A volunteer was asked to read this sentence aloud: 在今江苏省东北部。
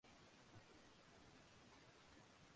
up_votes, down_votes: 1, 2